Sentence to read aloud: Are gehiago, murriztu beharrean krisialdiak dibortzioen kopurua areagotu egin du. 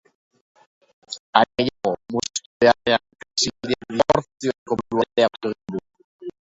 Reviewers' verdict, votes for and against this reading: rejected, 0, 3